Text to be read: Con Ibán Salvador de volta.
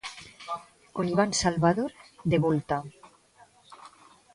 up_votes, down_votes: 1, 2